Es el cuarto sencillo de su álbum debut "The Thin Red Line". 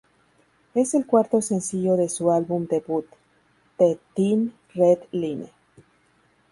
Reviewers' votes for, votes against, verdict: 4, 2, accepted